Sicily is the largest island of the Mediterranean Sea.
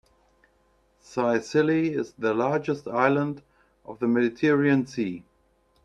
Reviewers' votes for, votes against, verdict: 1, 2, rejected